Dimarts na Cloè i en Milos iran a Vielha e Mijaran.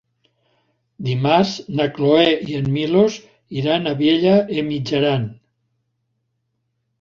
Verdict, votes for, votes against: accepted, 2, 0